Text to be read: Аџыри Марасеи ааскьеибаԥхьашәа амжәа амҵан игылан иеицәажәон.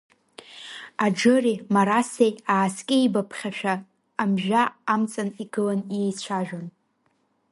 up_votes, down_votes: 2, 0